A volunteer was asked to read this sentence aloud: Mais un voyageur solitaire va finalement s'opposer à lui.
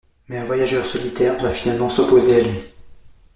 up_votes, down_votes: 1, 2